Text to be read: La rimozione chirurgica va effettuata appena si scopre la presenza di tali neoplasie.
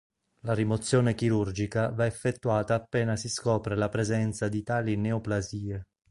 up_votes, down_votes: 2, 0